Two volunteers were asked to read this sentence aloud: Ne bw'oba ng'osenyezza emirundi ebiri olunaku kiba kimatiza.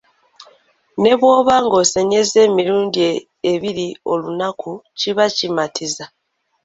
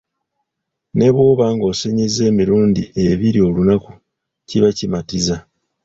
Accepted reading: first